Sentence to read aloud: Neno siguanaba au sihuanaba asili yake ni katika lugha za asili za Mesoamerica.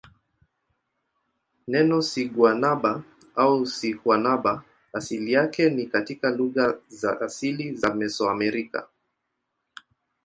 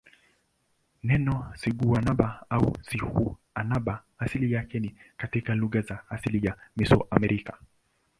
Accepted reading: first